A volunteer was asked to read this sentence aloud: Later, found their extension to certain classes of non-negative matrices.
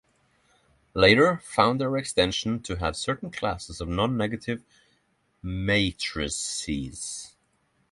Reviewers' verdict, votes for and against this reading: rejected, 0, 6